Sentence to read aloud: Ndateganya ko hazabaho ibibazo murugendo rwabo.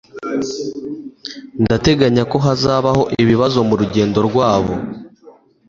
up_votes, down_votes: 2, 0